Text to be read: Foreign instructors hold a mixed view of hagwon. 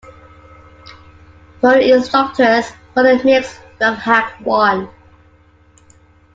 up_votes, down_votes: 0, 2